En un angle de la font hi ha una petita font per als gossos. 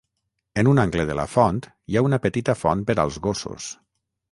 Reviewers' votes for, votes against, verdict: 9, 0, accepted